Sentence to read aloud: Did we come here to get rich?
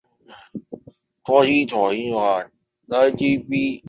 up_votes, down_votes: 0, 2